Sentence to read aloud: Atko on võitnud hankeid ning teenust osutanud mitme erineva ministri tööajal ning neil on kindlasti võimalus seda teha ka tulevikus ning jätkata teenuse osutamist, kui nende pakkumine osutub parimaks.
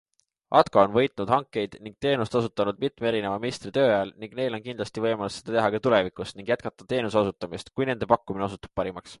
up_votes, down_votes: 2, 0